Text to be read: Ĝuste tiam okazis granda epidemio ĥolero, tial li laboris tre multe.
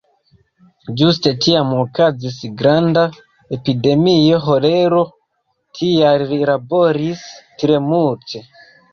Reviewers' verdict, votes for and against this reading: rejected, 0, 2